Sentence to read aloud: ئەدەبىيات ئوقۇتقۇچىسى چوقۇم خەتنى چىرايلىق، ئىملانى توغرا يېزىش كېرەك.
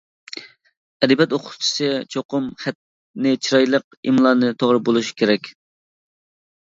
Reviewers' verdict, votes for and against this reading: rejected, 0, 2